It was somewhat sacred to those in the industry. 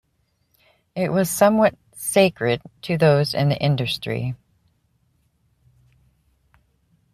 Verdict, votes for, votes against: accepted, 2, 0